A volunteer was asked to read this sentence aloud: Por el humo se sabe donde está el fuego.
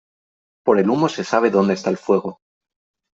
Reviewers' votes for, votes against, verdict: 3, 0, accepted